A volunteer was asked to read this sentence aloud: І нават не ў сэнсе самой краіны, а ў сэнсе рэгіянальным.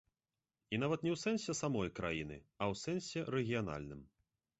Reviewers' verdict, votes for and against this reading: accepted, 3, 0